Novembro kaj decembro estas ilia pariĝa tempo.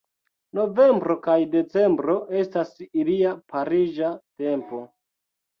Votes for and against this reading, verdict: 0, 2, rejected